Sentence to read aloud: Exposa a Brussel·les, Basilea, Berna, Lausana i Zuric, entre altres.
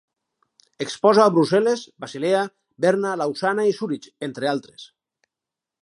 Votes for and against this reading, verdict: 2, 2, rejected